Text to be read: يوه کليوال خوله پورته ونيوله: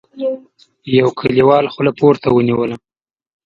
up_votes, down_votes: 0, 2